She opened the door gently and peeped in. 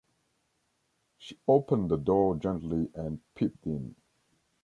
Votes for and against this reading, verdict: 0, 2, rejected